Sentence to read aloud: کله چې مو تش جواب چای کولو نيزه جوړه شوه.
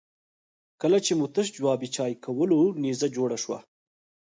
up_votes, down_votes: 4, 0